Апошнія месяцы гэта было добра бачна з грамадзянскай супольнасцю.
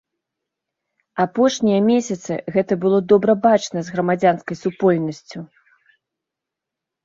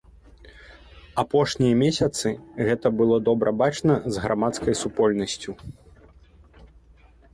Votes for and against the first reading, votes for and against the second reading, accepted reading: 2, 0, 1, 2, first